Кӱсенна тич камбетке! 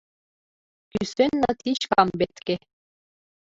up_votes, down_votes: 2, 1